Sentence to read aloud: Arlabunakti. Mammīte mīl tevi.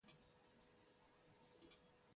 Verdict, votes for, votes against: rejected, 0, 2